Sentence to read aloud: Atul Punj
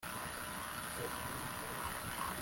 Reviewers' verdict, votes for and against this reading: rejected, 0, 2